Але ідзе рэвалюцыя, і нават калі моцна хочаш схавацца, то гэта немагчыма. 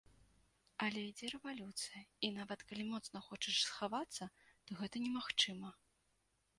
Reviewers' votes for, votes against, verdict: 2, 0, accepted